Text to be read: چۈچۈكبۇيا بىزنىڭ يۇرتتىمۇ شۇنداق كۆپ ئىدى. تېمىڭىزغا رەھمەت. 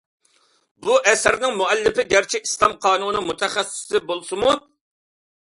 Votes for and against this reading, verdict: 0, 2, rejected